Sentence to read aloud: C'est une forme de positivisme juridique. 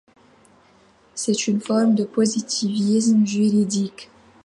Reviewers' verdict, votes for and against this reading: accepted, 2, 0